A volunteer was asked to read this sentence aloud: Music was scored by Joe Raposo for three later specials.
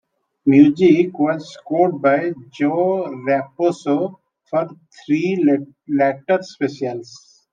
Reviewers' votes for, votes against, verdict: 1, 2, rejected